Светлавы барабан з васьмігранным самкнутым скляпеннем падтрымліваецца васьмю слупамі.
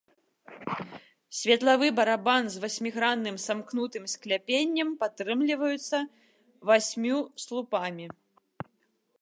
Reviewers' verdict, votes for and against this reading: accepted, 2, 0